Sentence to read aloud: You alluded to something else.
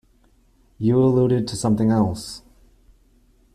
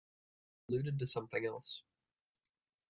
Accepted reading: first